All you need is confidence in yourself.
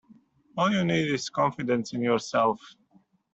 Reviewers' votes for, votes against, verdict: 2, 0, accepted